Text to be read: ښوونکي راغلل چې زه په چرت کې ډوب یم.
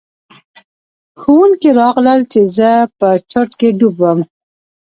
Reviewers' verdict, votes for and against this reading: rejected, 1, 2